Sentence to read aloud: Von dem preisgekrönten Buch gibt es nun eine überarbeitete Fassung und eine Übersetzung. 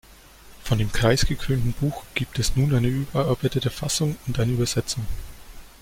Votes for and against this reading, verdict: 1, 2, rejected